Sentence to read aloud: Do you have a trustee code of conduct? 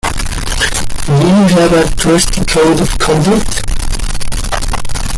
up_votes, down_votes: 0, 2